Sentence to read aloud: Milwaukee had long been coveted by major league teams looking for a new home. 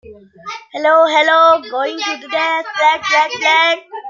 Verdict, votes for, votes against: rejected, 0, 2